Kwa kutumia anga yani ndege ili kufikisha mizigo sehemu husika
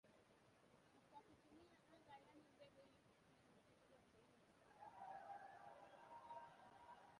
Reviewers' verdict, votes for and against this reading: rejected, 1, 3